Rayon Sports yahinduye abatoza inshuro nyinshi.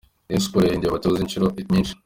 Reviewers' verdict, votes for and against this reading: accepted, 2, 0